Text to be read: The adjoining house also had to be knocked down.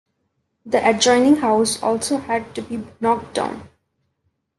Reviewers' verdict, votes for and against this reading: accepted, 2, 0